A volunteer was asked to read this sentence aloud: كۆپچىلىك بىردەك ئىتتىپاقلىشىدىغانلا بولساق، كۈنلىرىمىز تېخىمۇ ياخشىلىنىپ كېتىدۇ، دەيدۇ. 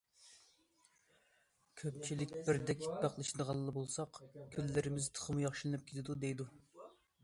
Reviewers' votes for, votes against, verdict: 2, 0, accepted